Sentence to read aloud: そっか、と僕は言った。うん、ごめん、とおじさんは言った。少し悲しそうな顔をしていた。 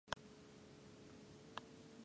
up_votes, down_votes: 0, 2